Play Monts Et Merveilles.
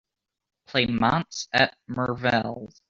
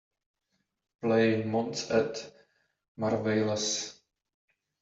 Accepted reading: second